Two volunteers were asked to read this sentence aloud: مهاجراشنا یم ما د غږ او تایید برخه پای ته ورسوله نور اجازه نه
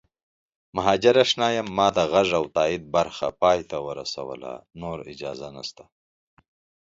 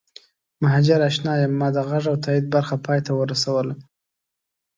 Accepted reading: first